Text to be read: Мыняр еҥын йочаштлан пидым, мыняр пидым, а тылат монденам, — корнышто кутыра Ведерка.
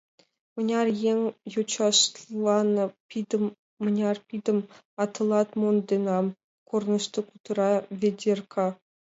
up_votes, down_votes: 0, 2